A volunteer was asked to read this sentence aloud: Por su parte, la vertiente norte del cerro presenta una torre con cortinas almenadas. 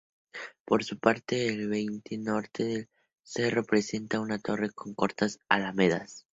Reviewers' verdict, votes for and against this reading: rejected, 0, 2